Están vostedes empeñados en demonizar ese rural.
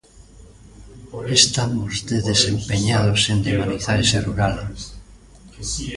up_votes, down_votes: 1, 2